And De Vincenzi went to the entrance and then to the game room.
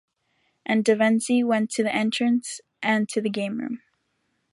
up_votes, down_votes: 1, 2